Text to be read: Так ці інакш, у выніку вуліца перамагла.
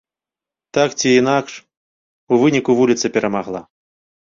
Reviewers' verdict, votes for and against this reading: accepted, 2, 0